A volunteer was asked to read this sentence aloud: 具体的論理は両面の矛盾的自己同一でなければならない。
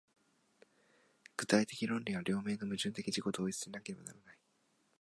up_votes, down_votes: 0, 2